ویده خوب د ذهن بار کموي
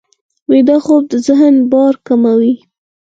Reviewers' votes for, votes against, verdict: 2, 4, rejected